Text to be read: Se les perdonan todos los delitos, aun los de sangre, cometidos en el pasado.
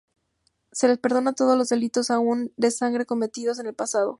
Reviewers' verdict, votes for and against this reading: rejected, 0, 2